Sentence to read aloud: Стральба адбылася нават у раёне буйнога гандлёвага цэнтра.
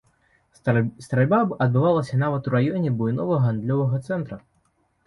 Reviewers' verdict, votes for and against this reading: rejected, 1, 2